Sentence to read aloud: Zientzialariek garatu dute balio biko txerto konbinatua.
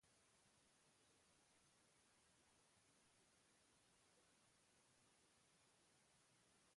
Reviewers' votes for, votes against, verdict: 0, 2, rejected